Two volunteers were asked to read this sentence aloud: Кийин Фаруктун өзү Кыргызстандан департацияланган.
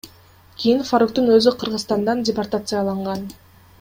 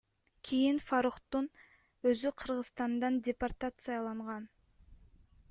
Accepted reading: first